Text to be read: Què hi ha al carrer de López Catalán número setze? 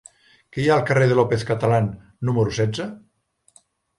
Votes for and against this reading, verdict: 2, 0, accepted